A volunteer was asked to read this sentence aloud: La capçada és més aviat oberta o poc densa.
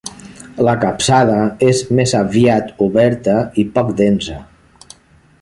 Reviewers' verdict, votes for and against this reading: rejected, 0, 2